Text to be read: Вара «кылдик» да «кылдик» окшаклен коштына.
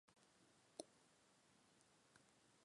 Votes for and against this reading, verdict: 0, 2, rejected